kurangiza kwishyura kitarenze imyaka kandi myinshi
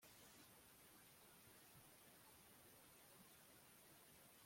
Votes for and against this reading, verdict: 0, 2, rejected